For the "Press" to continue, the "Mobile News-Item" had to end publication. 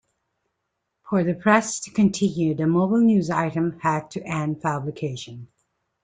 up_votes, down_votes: 2, 0